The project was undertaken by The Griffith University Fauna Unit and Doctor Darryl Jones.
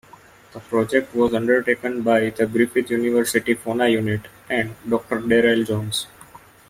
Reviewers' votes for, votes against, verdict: 1, 2, rejected